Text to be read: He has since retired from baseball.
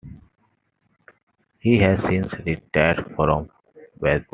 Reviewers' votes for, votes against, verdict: 1, 2, rejected